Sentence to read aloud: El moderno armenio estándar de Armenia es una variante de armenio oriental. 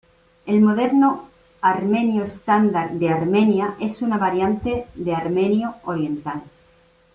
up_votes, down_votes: 2, 0